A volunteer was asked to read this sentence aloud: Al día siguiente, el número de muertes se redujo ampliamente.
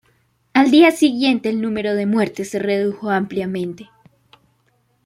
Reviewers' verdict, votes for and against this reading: accepted, 2, 0